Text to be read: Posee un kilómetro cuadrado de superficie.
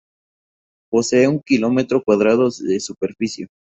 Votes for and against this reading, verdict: 2, 2, rejected